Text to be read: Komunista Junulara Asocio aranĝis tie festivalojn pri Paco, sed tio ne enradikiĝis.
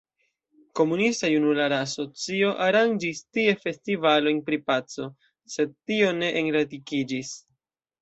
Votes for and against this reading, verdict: 1, 2, rejected